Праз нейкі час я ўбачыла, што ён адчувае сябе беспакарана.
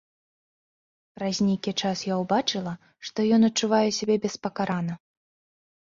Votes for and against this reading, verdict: 2, 0, accepted